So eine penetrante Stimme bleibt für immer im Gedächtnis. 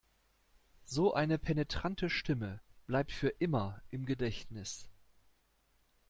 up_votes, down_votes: 2, 0